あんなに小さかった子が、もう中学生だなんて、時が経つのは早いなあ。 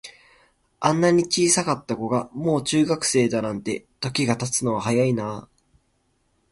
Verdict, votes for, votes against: accepted, 2, 1